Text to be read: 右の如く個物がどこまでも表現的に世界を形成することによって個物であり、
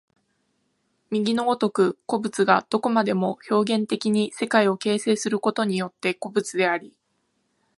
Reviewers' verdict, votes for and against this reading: accepted, 2, 0